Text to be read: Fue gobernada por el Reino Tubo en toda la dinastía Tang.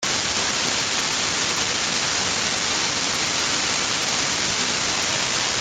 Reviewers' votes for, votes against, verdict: 0, 3, rejected